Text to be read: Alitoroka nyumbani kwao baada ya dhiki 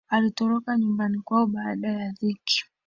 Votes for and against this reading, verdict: 2, 1, accepted